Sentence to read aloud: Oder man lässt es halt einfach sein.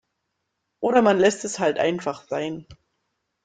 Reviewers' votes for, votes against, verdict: 2, 0, accepted